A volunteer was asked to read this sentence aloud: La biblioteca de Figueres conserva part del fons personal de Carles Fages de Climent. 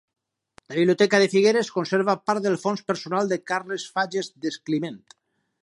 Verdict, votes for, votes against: rejected, 0, 4